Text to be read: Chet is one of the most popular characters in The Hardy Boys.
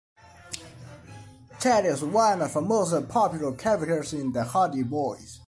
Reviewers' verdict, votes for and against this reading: rejected, 1, 2